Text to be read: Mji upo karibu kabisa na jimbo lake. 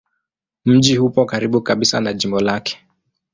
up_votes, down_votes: 2, 0